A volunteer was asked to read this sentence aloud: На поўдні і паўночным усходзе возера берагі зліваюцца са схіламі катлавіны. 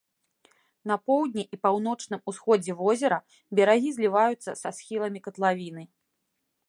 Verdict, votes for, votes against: accepted, 2, 0